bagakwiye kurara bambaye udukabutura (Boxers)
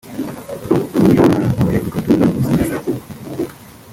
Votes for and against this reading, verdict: 0, 3, rejected